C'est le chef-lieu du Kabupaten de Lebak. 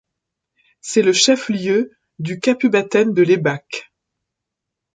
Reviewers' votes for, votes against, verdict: 1, 2, rejected